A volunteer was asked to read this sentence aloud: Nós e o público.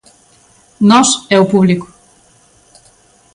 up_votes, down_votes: 2, 0